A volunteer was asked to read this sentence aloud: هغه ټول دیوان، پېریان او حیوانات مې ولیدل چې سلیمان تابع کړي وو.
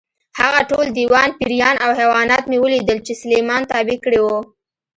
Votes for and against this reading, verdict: 2, 0, accepted